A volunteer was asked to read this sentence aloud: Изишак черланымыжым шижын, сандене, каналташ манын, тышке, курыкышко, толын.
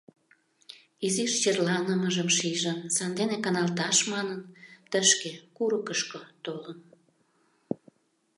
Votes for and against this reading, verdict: 0, 2, rejected